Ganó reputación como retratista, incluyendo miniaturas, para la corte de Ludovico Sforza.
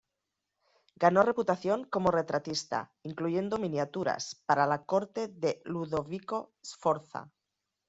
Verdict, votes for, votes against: accepted, 2, 0